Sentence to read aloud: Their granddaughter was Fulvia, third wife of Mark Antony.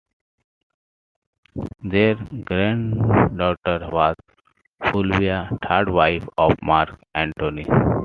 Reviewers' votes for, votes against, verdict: 2, 0, accepted